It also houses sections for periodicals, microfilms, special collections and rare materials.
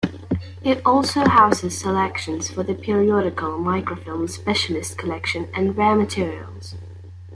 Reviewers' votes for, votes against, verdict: 1, 3, rejected